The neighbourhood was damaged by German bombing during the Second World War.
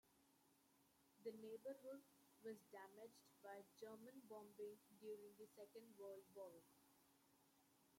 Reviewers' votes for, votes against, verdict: 0, 2, rejected